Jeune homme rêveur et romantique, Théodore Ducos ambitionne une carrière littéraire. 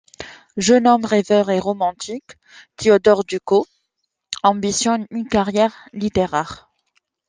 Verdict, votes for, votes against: rejected, 1, 2